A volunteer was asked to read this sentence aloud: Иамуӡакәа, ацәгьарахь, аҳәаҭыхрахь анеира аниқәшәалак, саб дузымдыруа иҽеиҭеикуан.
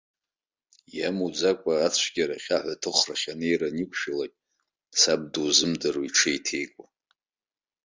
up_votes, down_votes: 2, 0